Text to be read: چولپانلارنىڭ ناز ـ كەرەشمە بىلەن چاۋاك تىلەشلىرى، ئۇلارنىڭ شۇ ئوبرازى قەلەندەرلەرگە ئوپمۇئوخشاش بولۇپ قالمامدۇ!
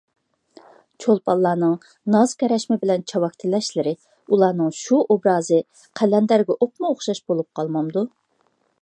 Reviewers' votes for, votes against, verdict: 1, 2, rejected